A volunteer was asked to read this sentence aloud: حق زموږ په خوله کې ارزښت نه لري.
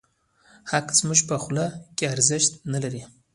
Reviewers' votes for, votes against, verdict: 0, 2, rejected